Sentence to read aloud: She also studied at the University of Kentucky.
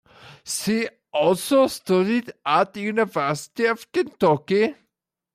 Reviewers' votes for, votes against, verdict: 2, 1, accepted